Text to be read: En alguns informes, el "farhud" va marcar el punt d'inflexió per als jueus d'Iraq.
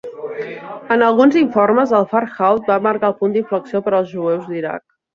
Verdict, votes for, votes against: rejected, 1, 2